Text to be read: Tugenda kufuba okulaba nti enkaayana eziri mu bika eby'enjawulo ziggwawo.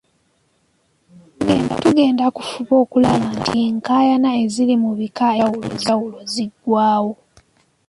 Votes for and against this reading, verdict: 0, 2, rejected